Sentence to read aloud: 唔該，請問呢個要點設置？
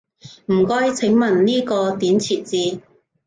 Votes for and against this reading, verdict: 1, 2, rejected